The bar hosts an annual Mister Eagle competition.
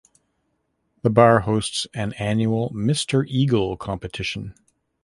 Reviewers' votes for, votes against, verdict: 2, 0, accepted